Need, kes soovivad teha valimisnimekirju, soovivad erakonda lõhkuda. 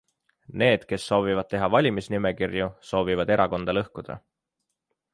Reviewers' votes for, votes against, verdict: 3, 0, accepted